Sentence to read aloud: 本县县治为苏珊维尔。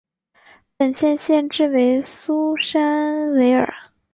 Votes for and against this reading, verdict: 3, 0, accepted